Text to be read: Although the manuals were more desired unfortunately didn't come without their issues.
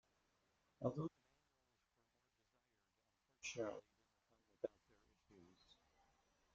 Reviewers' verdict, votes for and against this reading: rejected, 0, 2